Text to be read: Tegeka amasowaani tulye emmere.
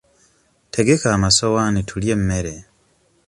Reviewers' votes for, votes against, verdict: 3, 0, accepted